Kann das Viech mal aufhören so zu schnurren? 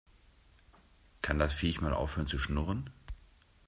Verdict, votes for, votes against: rejected, 1, 2